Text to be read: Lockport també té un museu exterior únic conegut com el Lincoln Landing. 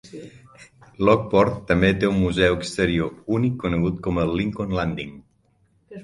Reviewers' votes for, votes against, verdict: 6, 0, accepted